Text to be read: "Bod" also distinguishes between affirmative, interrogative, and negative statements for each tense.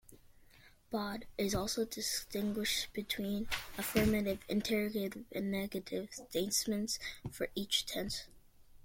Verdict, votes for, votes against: rejected, 0, 2